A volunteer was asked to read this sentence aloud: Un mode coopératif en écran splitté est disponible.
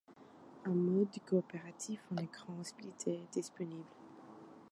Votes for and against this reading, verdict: 2, 1, accepted